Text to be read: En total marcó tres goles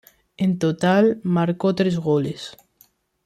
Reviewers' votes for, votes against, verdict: 2, 0, accepted